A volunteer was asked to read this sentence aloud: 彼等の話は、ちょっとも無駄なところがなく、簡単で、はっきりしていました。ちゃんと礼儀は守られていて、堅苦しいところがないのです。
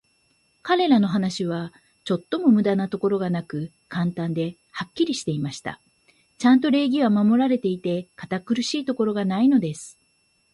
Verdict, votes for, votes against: accepted, 2, 0